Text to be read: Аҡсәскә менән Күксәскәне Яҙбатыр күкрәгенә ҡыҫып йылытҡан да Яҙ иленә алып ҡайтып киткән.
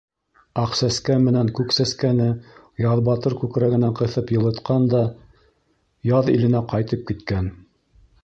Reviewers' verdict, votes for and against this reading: rejected, 0, 2